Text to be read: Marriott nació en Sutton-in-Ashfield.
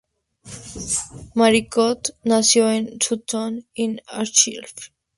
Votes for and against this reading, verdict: 0, 2, rejected